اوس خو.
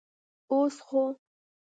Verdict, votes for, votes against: accepted, 2, 0